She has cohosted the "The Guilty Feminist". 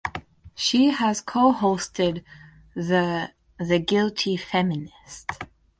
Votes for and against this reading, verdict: 2, 2, rejected